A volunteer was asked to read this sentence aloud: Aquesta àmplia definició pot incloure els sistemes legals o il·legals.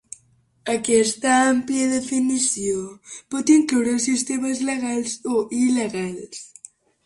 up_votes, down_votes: 2, 0